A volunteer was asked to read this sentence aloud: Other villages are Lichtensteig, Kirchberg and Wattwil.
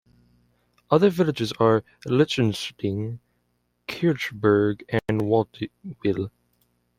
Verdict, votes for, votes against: rejected, 1, 2